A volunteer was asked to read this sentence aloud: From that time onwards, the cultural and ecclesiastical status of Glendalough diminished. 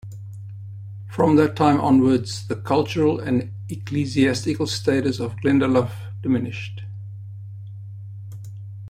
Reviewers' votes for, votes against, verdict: 2, 1, accepted